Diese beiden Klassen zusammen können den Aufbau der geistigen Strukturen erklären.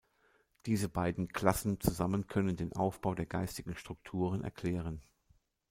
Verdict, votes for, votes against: accepted, 2, 0